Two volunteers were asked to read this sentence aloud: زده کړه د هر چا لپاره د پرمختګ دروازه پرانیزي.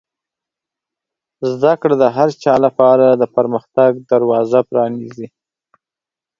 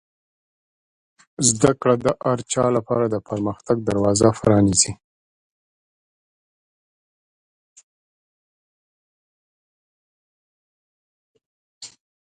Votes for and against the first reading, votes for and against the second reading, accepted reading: 12, 0, 0, 2, first